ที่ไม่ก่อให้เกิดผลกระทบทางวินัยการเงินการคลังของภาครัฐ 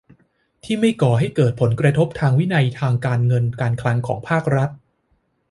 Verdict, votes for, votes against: accepted, 2, 0